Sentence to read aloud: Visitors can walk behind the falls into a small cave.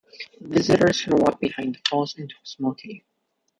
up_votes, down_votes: 1, 2